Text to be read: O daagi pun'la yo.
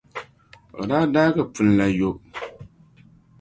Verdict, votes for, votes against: rejected, 1, 3